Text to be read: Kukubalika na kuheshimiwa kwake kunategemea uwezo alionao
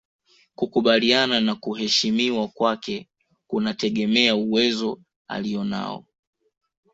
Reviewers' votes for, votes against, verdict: 2, 1, accepted